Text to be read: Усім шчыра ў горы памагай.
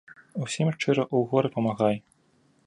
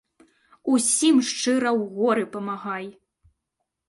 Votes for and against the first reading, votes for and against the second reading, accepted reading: 1, 2, 2, 0, second